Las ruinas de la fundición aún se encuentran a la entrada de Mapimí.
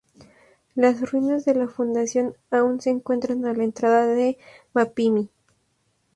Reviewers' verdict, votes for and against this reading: accepted, 4, 2